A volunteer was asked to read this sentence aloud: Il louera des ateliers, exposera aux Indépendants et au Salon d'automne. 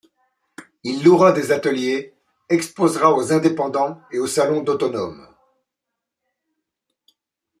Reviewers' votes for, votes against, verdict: 0, 2, rejected